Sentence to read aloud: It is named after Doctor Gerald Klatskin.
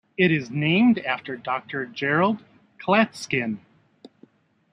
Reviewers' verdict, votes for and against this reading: accepted, 2, 0